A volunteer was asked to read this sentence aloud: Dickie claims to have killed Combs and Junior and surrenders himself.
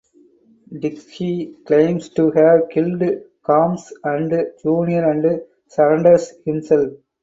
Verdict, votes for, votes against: rejected, 2, 2